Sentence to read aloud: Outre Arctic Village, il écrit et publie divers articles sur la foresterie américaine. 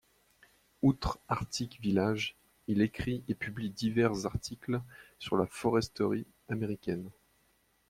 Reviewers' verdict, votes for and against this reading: accepted, 2, 0